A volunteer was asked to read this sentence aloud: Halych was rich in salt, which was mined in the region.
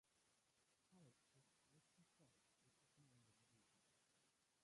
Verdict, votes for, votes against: rejected, 0, 2